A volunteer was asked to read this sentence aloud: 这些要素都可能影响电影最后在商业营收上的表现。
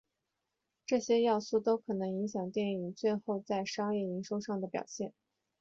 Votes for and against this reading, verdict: 0, 2, rejected